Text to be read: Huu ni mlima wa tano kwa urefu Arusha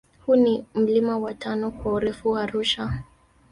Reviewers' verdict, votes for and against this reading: rejected, 1, 2